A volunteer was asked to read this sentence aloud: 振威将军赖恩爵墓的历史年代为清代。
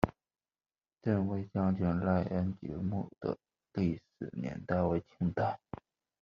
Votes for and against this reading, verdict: 0, 2, rejected